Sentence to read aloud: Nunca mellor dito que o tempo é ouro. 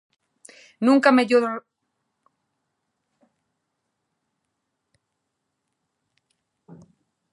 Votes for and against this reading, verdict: 0, 2, rejected